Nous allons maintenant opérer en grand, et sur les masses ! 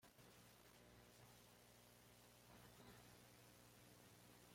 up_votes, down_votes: 1, 2